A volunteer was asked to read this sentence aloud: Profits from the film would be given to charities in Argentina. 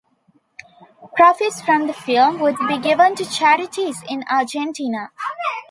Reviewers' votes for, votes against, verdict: 2, 0, accepted